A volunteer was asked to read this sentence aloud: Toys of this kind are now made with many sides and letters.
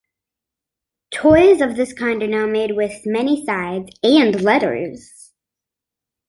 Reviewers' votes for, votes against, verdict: 3, 0, accepted